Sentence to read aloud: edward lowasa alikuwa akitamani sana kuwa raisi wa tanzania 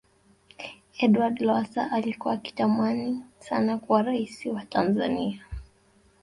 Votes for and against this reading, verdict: 0, 2, rejected